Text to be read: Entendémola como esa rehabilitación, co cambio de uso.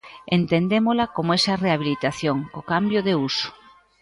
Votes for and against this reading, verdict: 2, 1, accepted